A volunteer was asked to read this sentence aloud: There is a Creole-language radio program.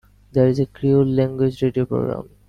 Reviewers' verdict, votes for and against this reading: accepted, 2, 1